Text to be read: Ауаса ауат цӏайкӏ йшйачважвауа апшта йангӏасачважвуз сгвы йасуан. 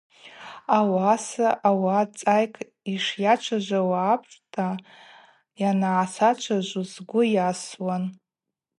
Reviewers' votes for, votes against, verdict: 2, 0, accepted